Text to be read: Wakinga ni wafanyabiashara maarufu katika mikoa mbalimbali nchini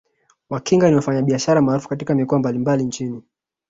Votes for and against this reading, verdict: 2, 1, accepted